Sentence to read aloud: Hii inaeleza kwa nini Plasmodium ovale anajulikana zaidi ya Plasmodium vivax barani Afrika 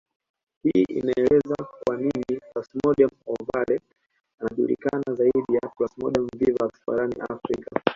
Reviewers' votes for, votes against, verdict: 2, 0, accepted